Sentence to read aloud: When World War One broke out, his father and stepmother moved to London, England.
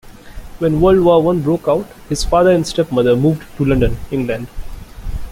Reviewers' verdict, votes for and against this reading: rejected, 0, 2